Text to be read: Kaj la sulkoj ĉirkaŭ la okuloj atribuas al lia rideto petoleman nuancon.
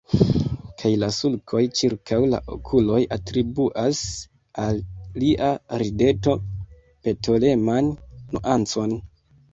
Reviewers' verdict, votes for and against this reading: rejected, 1, 2